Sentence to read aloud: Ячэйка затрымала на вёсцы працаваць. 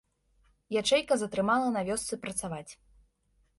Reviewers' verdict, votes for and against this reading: accepted, 2, 0